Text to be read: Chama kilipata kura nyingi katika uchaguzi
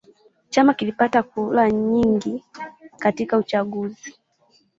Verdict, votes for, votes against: rejected, 1, 2